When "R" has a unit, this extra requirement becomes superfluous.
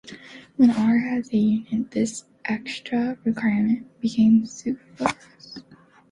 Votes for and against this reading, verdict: 0, 2, rejected